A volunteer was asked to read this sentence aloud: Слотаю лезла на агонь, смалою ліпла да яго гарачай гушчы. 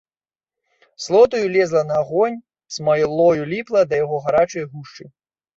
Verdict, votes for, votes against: rejected, 0, 2